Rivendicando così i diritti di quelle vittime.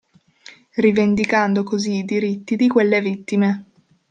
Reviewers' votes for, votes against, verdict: 2, 0, accepted